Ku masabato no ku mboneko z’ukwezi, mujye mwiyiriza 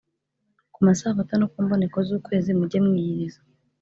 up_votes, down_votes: 3, 0